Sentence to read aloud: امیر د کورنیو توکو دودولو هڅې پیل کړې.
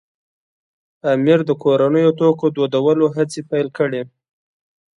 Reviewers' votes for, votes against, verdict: 2, 0, accepted